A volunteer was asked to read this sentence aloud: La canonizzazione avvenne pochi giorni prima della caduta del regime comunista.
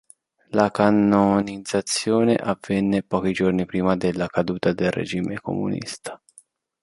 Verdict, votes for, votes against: rejected, 0, 2